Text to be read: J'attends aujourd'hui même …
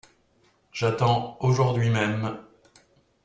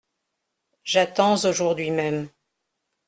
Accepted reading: first